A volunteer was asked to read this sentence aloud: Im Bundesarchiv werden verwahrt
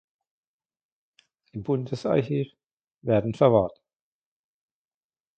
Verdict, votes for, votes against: rejected, 0, 2